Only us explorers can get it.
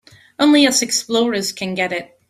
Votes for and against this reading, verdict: 3, 0, accepted